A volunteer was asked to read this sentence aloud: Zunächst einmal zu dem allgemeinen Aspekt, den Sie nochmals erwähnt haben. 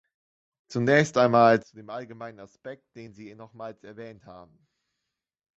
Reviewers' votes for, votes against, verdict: 1, 2, rejected